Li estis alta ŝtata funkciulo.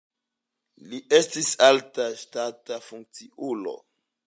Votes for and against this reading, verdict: 2, 0, accepted